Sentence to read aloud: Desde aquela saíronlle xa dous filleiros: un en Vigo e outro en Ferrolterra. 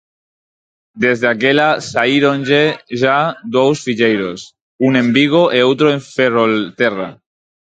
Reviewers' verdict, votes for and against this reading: rejected, 0, 4